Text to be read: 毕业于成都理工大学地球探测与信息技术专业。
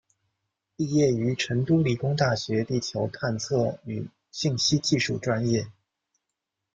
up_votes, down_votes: 2, 0